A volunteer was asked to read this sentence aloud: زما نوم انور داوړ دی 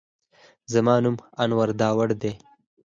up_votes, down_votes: 4, 0